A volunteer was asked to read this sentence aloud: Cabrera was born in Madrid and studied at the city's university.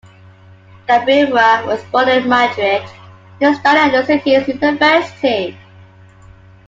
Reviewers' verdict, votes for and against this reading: rejected, 0, 2